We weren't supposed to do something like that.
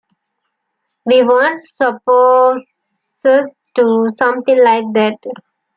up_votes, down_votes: 2, 1